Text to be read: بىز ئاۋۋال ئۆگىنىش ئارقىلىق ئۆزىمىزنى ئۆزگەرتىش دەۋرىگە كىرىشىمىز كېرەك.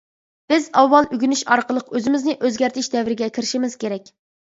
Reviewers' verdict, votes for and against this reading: accepted, 2, 0